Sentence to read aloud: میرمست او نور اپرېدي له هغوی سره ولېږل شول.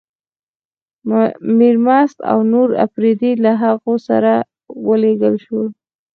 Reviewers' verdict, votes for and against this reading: accepted, 4, 0